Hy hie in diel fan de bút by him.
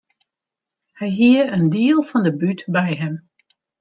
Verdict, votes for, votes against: accepted, 2, 0